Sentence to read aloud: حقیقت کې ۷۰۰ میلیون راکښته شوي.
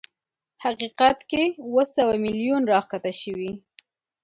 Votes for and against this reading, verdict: 0, 2, rejected